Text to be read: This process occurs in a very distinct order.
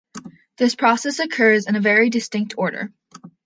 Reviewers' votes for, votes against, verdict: 2, 0, accepted